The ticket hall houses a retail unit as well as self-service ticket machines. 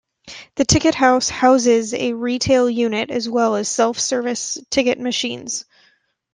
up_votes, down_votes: 1, 2